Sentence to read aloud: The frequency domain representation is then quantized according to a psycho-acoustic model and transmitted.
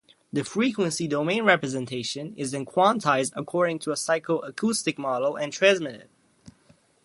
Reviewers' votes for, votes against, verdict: 2, 0, accepted